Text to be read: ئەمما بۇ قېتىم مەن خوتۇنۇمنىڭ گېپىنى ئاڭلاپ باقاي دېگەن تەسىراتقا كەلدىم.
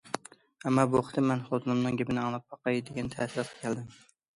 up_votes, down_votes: 2, 0